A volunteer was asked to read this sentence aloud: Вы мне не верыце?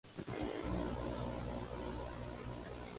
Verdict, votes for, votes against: rejected, 0, 2